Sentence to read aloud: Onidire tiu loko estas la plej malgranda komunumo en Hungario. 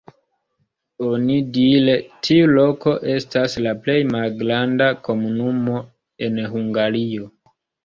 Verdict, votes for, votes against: rejected, 0, 2